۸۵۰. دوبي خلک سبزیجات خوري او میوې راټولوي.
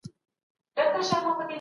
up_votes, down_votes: 0, 2